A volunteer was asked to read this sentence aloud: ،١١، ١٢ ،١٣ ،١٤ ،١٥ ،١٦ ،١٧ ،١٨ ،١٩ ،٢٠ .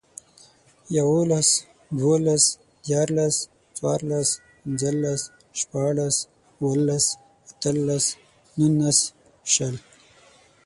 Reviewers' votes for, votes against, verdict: 0, 2, rejected